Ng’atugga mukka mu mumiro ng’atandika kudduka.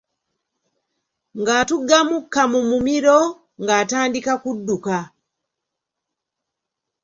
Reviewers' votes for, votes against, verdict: 2, 0, accepted